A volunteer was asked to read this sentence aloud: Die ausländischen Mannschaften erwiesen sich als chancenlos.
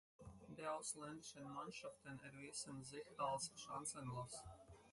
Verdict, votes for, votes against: rejected, 2, 4